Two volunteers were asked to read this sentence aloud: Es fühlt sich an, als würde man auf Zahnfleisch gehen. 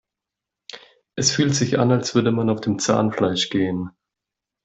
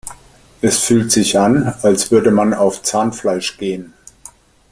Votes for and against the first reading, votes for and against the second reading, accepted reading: 1, 2, 2, 0, second